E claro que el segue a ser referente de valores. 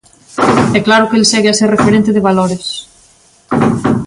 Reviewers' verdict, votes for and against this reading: accepted, 2, 0